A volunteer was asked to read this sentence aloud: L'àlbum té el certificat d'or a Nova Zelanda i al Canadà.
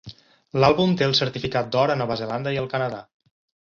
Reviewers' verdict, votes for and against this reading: accepted, 4, 0